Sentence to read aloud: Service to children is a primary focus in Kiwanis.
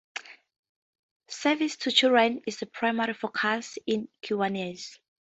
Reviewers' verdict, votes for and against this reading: rejected, 2, 2